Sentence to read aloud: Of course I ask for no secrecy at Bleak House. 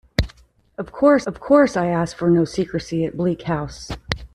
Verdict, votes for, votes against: rejected, 0, 2